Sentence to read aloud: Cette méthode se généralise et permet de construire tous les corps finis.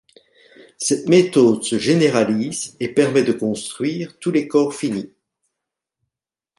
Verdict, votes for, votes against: accepted, 2, 0